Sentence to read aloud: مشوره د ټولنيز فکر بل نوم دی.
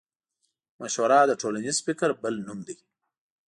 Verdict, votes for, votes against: accepted, 2, 0